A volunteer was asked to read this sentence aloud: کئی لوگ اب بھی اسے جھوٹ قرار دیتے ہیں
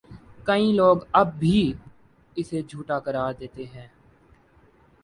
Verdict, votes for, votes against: rejected, 1, 2